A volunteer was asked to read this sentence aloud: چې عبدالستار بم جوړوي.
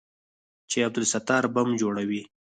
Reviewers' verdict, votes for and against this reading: rejected, 2, 4